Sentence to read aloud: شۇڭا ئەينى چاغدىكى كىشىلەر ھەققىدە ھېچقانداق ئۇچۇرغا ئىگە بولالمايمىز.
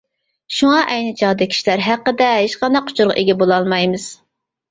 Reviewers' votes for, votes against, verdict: 0, 2, rejected